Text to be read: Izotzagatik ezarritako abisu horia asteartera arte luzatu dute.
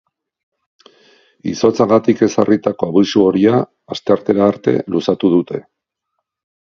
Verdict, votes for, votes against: accepted, 4, 0